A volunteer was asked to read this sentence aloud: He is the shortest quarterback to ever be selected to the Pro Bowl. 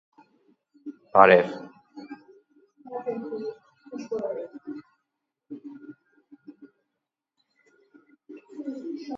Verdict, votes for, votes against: rejected, 0, 2